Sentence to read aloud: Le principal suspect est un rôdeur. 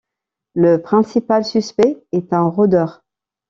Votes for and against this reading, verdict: 1, 2, rejected